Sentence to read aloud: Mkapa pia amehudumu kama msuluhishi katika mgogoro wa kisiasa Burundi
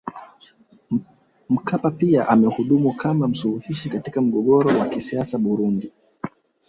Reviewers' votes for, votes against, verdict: 2, 1, accepted